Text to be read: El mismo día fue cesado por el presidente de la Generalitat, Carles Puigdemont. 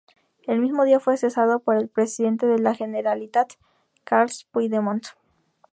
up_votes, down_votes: 2, 2